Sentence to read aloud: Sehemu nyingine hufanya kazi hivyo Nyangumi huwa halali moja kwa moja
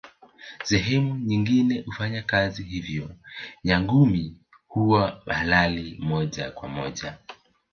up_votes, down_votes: 1, 2